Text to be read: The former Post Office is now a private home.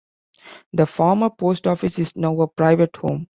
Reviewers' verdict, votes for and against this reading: accepted, 2, 0